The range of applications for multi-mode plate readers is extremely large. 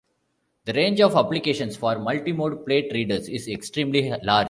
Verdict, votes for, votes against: rejected, 0, 2